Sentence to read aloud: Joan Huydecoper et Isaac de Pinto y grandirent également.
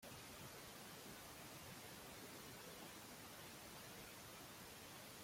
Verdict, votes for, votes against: rejected, 0, 3